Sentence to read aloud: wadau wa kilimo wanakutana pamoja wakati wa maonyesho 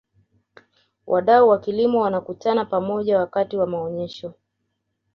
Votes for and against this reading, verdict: 2, 0, accepted